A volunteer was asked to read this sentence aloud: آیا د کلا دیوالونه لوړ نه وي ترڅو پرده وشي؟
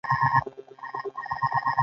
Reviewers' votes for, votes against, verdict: 1, 2, rejected